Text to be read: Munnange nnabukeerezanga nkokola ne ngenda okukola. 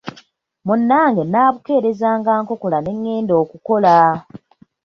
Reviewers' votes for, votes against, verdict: 0, 2, rejected